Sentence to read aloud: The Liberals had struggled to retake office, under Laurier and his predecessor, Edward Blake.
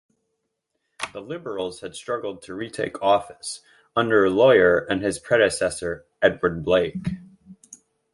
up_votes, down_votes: 1, 2